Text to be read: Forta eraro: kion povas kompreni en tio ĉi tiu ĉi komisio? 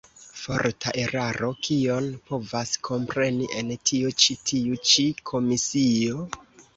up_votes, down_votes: 1, 2